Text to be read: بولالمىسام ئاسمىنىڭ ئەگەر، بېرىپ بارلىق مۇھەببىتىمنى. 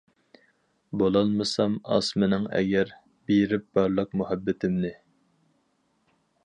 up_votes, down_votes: 4, 0